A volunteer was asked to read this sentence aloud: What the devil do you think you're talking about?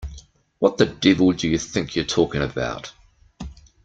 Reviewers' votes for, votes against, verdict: 1, 2, rejected